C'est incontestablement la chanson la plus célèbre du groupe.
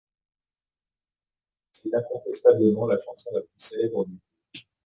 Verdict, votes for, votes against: rejected, 1, 2